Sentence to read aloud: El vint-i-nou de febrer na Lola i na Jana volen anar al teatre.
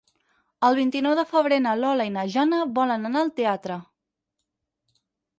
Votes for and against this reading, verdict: 8, 0, accepted